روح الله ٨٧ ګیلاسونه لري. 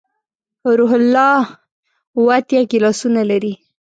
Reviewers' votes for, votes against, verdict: 0, 2, rejected